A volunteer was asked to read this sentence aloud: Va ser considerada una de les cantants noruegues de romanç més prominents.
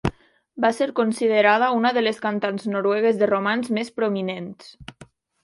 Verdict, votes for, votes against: accepted, 2, 0